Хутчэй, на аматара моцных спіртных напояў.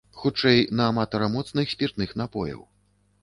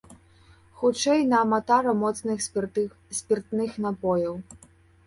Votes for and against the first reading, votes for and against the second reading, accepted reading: 2, 0, 1, 2, first